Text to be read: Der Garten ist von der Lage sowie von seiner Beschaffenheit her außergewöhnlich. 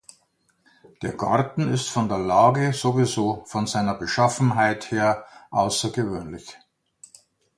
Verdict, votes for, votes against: rejected, 0, 2